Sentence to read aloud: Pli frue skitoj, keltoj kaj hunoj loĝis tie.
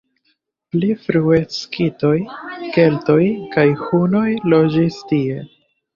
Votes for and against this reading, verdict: 2, 0, accepted